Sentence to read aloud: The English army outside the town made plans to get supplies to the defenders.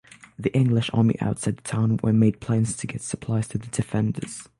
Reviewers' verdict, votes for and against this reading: rejected, 0, 6